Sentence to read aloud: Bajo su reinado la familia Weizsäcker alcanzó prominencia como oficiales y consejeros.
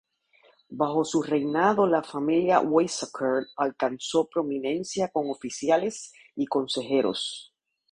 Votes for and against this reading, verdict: 4, 0, accepted